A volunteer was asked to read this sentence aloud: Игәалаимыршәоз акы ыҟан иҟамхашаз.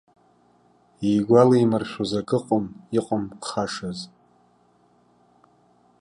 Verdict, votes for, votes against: rejected, 0, 2